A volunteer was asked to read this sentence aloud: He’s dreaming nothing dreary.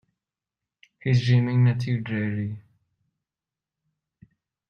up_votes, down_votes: 1, 2